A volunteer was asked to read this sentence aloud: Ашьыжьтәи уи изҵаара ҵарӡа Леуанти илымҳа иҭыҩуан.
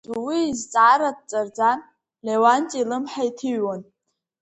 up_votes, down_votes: 2, 4